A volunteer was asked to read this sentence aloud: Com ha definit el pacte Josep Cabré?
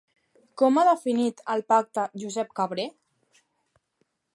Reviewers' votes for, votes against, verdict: 3, 0, accepted